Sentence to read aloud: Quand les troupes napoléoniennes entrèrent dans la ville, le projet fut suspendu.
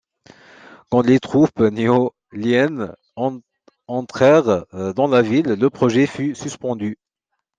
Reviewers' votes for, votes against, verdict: 0, 2, rejected